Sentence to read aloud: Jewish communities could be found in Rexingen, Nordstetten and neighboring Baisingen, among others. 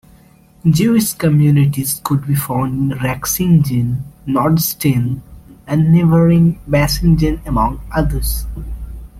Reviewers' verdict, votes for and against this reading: accepted, 2, 1